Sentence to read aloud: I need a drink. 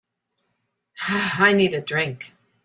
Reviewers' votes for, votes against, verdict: 1, 2, rejected